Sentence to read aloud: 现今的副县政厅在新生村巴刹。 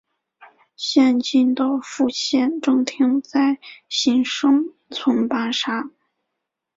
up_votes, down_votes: 2, 0